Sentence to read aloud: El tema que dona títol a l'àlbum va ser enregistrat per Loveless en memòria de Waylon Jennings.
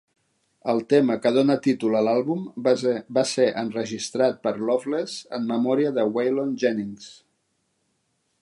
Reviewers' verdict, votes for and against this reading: rejected, 0, 3